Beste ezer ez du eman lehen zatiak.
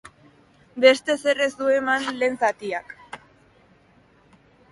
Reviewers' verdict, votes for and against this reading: accepted, 3, 0